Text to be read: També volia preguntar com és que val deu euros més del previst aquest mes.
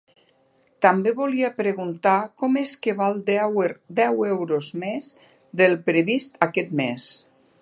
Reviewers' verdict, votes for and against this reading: rejected, 0, 2